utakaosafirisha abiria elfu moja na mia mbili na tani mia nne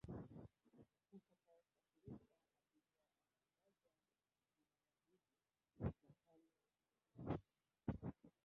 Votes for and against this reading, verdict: 1, 3, rejected